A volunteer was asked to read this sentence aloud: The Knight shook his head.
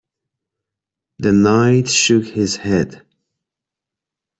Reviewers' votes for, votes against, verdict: 2, 0, accepted